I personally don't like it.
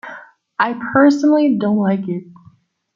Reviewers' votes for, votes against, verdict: 2, 0, accepted